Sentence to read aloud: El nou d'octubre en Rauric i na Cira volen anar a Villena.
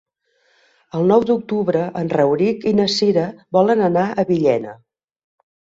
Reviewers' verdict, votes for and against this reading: accepted, 4, 0